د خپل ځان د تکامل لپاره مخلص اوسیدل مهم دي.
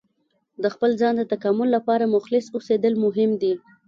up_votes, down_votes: 2, 0